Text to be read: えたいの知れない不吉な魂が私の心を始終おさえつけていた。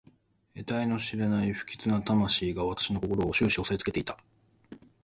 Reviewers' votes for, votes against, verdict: 2, 0, accepted